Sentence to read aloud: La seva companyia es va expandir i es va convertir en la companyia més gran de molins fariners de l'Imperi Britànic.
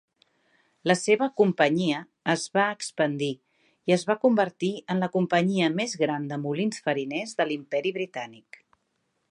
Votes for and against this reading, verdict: 3, 0, accepted